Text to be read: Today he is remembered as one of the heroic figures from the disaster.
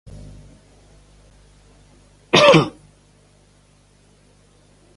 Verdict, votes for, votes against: rejected, 0, 2